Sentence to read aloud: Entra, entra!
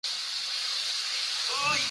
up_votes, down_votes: 0, 3